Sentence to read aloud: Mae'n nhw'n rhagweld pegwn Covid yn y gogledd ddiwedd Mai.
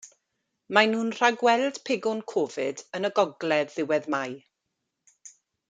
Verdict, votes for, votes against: accepted, 2, 0